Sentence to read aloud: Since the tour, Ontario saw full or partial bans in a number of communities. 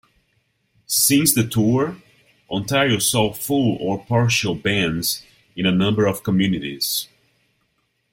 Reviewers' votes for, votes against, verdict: 2, 0, accepted